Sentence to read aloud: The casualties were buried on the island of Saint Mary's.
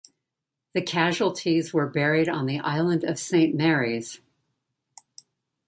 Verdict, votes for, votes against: accepted, 2, 0